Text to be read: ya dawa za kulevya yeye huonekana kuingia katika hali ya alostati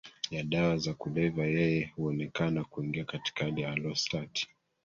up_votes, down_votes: 1, 2